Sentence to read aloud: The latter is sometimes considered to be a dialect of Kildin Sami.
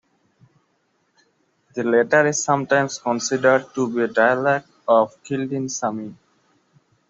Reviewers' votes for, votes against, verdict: 2, 0, accepted